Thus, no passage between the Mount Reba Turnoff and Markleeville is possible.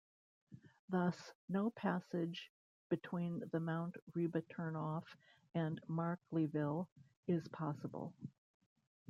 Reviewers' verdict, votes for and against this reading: accepted, 2, 0